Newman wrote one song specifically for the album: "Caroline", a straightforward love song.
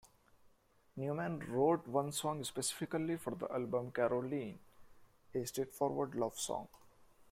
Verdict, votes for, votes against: rejected, 1, 2